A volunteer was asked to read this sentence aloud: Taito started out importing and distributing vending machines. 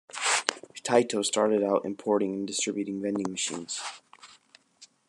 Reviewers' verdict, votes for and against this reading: accepted, 2, 1